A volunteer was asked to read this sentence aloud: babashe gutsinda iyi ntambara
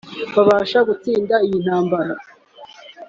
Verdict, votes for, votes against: accepted, 3, 1